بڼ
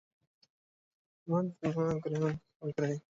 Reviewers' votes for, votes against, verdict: 1, 2, rejected